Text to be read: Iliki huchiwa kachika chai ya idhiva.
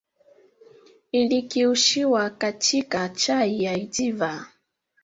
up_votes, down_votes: 1, 2